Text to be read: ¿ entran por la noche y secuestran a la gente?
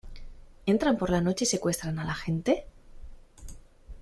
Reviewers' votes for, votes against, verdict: 2, 0, accepted